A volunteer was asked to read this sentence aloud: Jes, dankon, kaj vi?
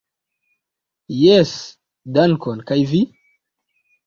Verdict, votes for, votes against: accepted, 2, 0